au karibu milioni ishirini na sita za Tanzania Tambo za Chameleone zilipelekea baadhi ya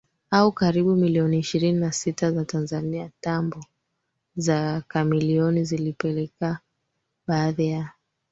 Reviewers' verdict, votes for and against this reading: rejected, 2, 4